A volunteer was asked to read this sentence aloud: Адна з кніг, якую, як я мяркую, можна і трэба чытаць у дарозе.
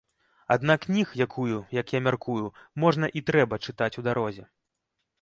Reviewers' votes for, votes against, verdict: 0, 2, rejected